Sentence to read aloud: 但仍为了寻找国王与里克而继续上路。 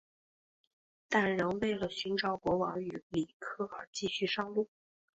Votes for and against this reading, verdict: 3, 0, accepted